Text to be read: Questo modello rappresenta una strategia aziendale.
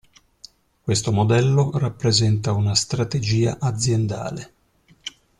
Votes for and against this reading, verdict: 2, 0, accepted